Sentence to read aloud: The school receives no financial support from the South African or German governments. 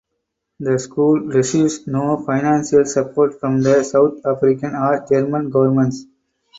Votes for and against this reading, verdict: 4, 2, accepted